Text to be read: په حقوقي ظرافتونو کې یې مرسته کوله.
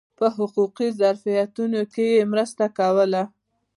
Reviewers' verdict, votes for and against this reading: accepted, 2, 1